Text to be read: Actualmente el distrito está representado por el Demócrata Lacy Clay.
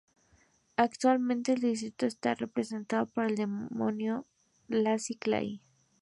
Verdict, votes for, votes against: rejected, 0, 2